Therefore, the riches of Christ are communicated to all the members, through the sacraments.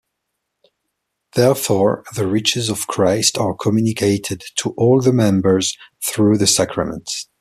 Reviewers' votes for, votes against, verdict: 2, 0, accepted